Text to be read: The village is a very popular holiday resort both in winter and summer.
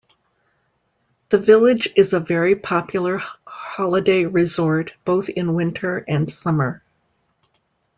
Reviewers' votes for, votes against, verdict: 0, 2, rejected